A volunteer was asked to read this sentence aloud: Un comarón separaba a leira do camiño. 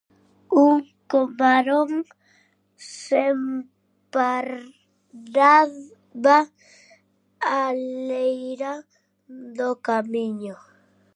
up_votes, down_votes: 0, 2